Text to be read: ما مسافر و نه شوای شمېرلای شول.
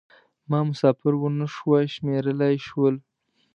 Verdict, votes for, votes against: accepted, 2, 0